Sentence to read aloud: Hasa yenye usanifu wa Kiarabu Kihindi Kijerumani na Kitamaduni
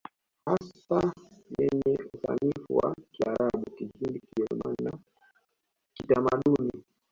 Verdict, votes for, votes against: rejected, 0, 2